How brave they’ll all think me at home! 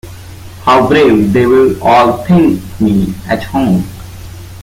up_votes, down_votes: 1, 3